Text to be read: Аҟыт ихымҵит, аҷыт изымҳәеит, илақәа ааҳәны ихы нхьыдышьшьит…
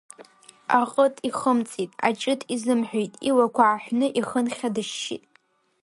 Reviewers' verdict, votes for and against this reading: rejected, 0, 2